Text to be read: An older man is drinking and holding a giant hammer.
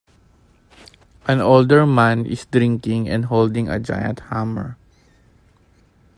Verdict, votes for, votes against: accepted, 2, 1